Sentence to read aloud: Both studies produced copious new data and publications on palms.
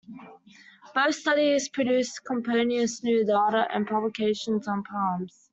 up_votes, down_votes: 2, 0